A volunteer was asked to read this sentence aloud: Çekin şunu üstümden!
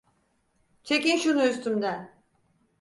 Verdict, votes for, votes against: accepted, 4, 0